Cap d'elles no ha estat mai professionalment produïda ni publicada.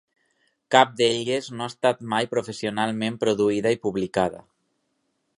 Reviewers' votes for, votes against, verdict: 2, 6, rejected